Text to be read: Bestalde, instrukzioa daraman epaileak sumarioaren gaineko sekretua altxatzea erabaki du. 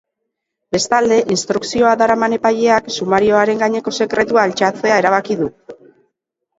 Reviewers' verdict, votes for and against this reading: rejected, 1, 2